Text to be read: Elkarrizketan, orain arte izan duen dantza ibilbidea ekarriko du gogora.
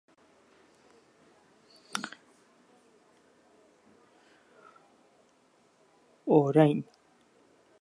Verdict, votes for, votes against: rejected, 0, 4